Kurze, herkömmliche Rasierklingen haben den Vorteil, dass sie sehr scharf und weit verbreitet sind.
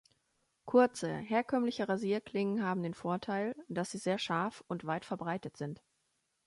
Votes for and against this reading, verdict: 2, 0, accepted